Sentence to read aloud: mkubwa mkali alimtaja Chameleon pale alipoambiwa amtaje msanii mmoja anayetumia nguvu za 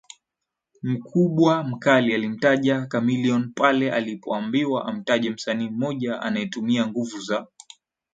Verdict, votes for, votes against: accepted, 10, 0